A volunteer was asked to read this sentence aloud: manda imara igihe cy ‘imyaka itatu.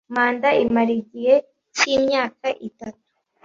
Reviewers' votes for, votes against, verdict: 2, 0, accepted